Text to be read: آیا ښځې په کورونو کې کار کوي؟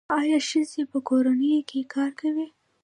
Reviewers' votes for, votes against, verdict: 1, 2, rejected